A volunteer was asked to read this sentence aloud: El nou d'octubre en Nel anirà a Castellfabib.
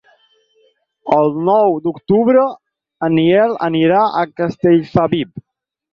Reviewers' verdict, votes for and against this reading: accepted, 6, 4